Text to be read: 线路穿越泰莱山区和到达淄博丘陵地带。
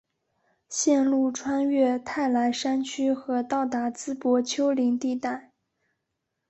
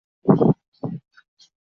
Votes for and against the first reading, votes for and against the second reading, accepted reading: 2, 0, 0, 7, first